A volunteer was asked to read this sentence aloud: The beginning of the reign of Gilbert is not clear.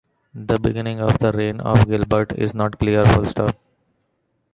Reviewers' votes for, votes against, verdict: 0, 2, rejected